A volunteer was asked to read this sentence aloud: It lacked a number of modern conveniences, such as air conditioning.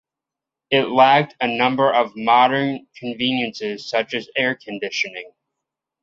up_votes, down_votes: 2, 0